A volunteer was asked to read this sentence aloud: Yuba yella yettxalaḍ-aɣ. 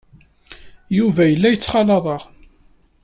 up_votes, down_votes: 3, 0